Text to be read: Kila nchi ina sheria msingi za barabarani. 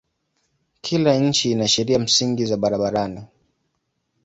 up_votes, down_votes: 2, 0